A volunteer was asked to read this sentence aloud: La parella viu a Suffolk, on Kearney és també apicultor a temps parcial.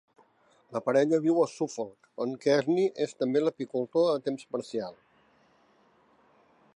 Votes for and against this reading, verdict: 0, 2, rejected